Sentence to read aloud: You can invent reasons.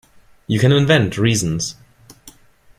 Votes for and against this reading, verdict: 2, 0, accepted